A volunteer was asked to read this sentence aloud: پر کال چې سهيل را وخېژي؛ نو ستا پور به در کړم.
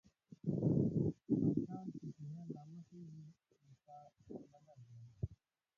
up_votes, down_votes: 0, 6